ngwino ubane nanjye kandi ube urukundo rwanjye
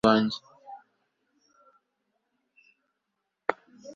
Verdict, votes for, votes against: rejected, 2, 3